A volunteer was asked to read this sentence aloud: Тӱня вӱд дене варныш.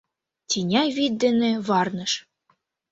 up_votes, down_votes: 2, 0